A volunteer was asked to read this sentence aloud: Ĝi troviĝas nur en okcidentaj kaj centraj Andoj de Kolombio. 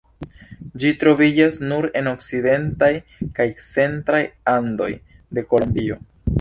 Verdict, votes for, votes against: rejected, 1, 2